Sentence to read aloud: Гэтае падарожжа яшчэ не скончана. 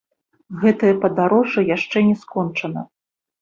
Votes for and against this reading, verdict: 4, 0, accepted